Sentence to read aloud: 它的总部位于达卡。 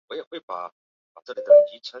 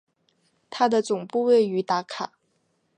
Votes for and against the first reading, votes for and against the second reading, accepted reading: 0, 4, 2, 0, second